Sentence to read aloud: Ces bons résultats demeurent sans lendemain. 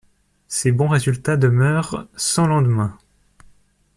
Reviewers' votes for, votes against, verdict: 2, 0, accepted